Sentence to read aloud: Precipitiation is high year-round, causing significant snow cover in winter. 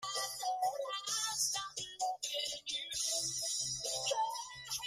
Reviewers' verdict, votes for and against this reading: rejected, 0, 3